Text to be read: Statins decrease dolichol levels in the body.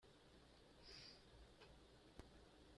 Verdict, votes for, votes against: rejected, 1, 2